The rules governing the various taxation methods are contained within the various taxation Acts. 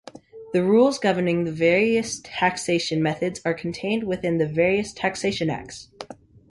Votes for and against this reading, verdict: 2, 0, accepted